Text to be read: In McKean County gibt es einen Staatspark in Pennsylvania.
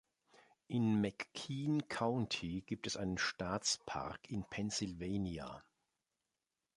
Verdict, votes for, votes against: accepted, 2, 0